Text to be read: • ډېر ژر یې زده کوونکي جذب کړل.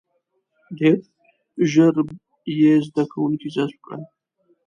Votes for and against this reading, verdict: 1, 2, rejected